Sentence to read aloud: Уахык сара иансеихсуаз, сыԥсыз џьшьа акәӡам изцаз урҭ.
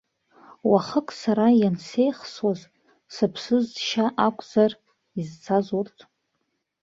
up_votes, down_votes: 1, 2